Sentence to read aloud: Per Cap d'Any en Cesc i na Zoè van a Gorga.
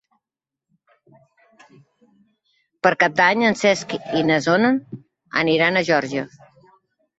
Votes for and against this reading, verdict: 0, 2, rejected